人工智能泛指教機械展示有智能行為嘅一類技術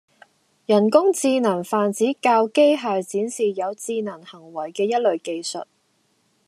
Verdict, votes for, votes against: accepted, 2, 0